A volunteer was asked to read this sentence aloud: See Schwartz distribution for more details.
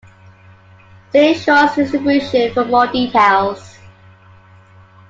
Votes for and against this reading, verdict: 2, 0, accepted